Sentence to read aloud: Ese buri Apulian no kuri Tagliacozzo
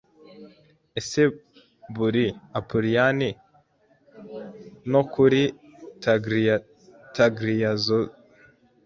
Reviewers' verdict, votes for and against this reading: rejected, 1, 2